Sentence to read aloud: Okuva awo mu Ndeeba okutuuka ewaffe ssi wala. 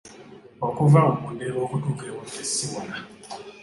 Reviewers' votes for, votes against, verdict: 2, 0, accepted